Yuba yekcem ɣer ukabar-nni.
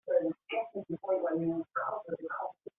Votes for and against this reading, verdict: 0, 2, rejected